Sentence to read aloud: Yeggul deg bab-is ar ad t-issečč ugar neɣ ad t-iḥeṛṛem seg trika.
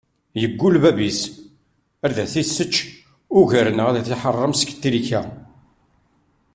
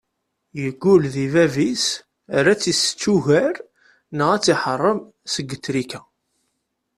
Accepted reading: second